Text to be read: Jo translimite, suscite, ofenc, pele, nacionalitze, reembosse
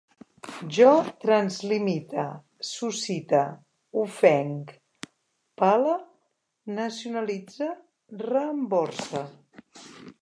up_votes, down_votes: 2, 3